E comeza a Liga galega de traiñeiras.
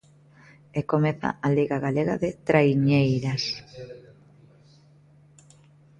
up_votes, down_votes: 0, 2